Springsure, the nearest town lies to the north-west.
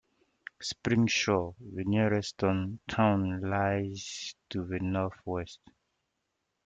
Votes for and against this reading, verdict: 0, 2, rejected